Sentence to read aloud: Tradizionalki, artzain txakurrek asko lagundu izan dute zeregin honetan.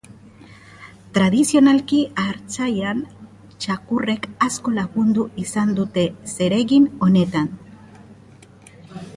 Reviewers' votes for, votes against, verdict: 0, 2, rejected